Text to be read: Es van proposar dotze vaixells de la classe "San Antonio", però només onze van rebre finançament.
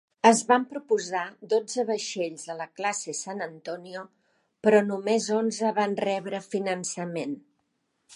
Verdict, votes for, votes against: rejected, 0, 2